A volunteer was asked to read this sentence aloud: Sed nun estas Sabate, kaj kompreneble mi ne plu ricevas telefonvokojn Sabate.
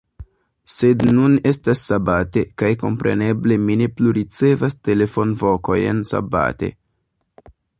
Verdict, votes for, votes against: accepted, 2, 0